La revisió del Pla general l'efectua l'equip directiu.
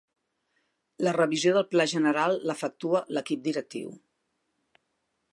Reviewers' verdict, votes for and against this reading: accepted, 2, 0